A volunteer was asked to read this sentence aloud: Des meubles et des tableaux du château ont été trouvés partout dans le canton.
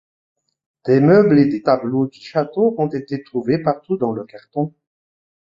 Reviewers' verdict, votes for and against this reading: rejected, 1, 2